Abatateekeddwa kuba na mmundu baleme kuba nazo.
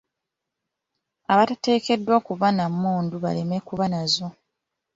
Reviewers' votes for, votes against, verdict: 2, 0, accepted